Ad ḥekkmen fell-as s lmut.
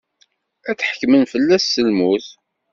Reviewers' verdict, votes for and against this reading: accepted, 2, 0